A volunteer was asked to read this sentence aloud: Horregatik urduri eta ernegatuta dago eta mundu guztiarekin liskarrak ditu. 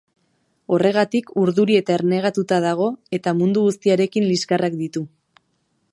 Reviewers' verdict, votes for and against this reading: accepted, 2, 0